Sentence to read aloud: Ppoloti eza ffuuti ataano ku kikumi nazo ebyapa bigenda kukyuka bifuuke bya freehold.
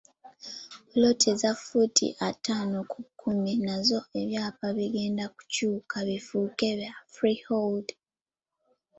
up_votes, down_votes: 1, 2